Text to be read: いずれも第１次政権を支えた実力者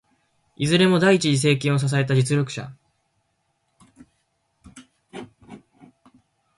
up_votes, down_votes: 0, 2